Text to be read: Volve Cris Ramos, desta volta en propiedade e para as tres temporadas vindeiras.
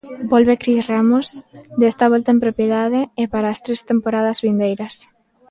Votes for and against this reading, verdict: 2, 0, accepted